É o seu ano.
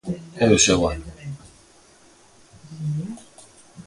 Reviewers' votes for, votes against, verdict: 0, 2, rejected